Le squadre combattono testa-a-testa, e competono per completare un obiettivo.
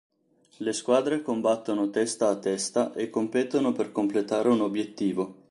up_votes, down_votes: 3, 0